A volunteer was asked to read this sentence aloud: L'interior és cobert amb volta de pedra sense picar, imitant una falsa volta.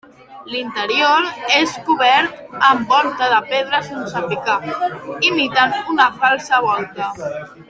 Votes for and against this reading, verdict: 2, 1, accepted